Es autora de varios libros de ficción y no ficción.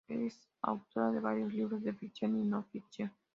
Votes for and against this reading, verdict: 0, 2, rejected